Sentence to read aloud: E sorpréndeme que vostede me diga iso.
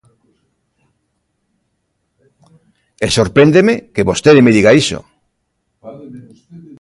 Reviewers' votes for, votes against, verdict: 1, 2, rejected